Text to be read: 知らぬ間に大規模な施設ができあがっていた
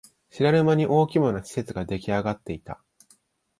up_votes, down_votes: 0, 2